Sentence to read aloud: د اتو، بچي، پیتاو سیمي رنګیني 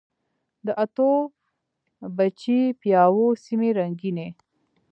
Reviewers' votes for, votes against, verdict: 2, 0, accepted